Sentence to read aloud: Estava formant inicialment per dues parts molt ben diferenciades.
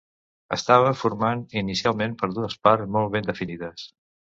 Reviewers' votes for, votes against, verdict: 1, 2, rejected